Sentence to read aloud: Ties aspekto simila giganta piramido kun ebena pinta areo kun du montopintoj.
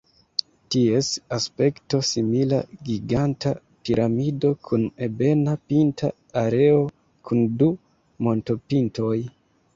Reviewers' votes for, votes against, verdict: 3, 2, accepted